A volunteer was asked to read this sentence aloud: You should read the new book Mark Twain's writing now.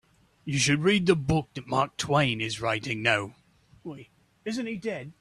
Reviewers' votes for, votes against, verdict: 0, 2, rejected